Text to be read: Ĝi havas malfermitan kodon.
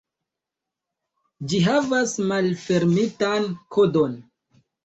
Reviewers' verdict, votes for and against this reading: accepted, 2, 0